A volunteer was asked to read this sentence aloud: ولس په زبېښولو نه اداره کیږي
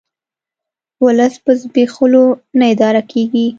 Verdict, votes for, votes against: accepted, 2, 0